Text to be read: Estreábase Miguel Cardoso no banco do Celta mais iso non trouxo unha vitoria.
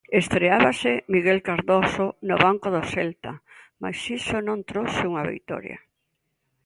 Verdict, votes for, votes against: accepted, 2, 0